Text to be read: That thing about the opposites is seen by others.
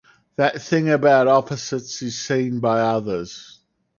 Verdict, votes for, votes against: rejected, 0, 4